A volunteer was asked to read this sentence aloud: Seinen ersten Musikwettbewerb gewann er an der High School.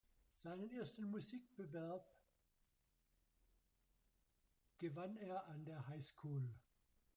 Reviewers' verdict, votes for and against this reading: rejected, 1, 2